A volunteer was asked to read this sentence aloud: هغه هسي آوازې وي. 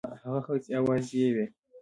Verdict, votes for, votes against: accepted, 2, 1